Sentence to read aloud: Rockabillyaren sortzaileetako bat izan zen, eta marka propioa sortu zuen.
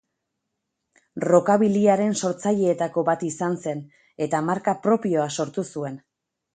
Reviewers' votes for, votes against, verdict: 2, 0, accepted